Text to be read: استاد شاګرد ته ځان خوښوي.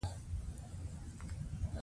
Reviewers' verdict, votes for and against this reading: accepted, 2, 1